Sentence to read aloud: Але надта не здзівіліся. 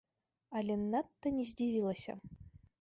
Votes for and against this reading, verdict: 1, 3, rejected